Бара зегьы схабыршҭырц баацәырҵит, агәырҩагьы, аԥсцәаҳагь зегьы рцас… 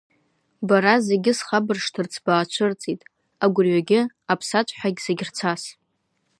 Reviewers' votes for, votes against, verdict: 1, 2, rejected